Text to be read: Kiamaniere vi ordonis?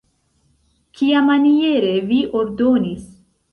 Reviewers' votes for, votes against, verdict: 1, 2, rejected